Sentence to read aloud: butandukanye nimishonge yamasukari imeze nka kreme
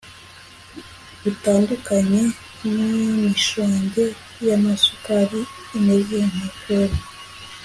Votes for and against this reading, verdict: 2, 0, accepted